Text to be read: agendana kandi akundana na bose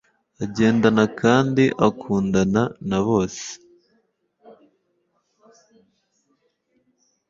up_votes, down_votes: 2, 0